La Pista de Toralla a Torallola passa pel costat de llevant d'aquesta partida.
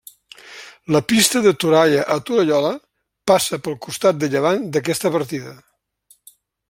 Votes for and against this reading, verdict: 2, 0, accepted